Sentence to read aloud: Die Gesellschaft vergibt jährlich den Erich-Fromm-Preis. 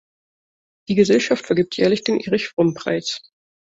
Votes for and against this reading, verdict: 2, 0, accepted